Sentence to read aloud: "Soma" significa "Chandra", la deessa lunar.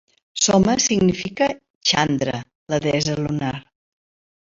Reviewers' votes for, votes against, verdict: 3, 0, accepted